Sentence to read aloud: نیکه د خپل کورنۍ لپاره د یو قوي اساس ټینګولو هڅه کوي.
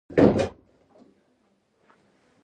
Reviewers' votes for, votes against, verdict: 0, 2, rejected